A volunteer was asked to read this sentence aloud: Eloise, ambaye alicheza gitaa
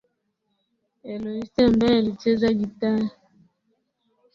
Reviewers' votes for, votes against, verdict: 1, 2, rejected